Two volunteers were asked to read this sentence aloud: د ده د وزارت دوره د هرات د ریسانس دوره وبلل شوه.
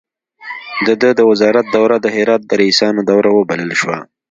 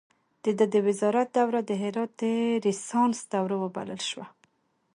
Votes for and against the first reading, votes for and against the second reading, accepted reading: 1, 2, 2, 0, second